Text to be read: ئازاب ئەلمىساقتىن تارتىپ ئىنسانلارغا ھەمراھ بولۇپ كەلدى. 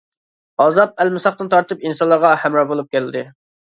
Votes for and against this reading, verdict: 2, 0, accepted